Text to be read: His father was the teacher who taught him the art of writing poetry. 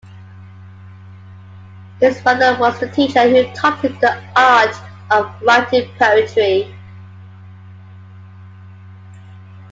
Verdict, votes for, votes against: accepted, 2, 0